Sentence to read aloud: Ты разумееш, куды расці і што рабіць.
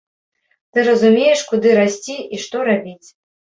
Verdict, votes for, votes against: accepted, 2, 0